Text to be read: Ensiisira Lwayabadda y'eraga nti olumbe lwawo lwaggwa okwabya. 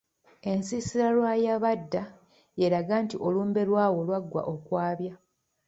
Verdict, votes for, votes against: rejected, 1, 2